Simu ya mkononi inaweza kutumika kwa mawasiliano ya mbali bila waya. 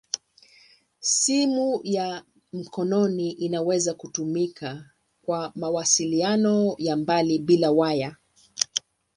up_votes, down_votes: 2, 0